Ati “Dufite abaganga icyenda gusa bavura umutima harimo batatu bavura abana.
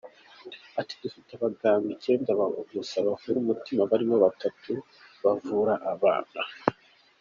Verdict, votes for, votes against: accepted, 3, 1